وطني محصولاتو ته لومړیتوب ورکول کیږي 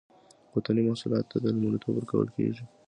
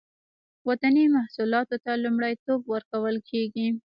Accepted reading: first